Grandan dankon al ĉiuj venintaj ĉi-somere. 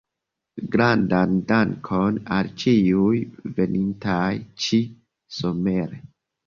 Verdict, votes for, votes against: accepted, 2, 0